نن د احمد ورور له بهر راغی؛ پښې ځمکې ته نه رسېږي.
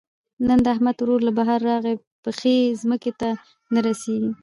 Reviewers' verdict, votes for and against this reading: accepted, 2, 0